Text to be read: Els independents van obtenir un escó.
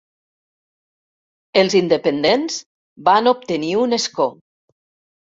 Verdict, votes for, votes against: accepted, 3, 0